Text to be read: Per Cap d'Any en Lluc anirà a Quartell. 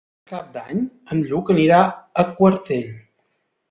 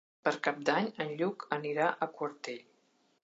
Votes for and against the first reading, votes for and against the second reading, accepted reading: 0, 2, 3, 0, second